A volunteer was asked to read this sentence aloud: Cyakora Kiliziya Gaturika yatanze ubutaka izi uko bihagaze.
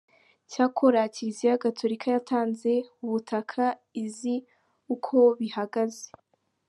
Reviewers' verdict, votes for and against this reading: accepted, 3, 1